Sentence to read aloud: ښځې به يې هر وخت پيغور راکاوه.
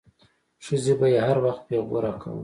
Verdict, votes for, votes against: accepted, 2, 0